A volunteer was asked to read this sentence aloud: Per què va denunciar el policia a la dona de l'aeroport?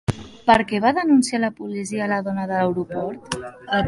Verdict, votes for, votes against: rejected, 2, 3